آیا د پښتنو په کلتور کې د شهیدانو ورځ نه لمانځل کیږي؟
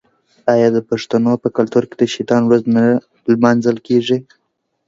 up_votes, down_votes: 1, 3